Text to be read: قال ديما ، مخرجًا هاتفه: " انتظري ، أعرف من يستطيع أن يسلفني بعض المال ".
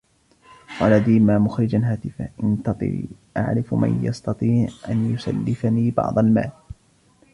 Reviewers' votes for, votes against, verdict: 0, 2, rejected